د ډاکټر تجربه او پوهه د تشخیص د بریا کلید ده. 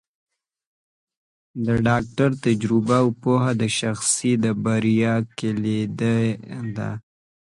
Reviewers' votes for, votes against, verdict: 1, 2, rejected